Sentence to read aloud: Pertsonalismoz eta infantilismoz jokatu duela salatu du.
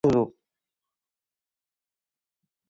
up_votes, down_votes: 0, 2